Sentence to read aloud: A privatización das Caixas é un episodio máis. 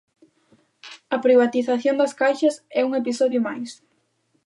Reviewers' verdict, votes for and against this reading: accepted, 2, 0